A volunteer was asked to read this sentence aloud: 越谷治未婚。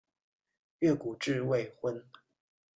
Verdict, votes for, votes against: accepted, 2, 0